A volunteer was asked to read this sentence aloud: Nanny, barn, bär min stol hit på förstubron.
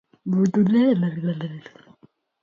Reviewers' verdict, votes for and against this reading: rejected, 0, 2